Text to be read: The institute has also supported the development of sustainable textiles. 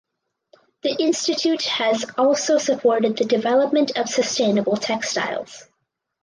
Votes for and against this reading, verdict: 4, 0, accepted